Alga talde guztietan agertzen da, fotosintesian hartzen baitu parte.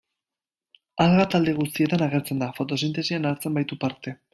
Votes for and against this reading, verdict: 2, 0, accepted